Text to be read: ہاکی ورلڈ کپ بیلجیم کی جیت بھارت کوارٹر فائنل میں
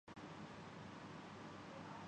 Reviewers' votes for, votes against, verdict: 1, 5, rejected